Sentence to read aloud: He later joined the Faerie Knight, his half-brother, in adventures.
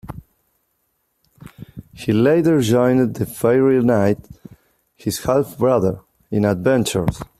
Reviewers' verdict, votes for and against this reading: accepted, 2, 1